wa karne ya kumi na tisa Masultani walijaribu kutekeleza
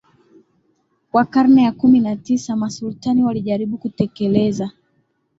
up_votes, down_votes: 13, 1